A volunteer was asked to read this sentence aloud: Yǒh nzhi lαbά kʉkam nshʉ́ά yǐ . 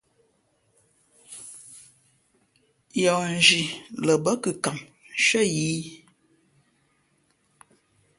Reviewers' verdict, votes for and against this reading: accepted, 2, 0